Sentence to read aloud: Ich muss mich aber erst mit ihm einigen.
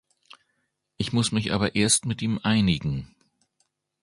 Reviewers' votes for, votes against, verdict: 2, 0, accepted